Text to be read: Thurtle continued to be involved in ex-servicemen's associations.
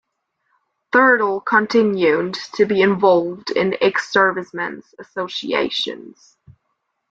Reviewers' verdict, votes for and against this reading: accepted, 2, 0